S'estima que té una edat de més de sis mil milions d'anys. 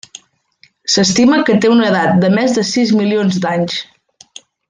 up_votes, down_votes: 0, 2